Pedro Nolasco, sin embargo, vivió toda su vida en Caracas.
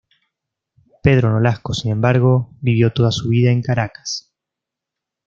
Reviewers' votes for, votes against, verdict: 2, 0, accepted